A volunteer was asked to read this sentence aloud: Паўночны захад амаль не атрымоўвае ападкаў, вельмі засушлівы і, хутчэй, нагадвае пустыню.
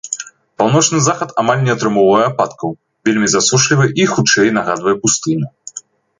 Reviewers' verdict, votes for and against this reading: accepted, 2, 0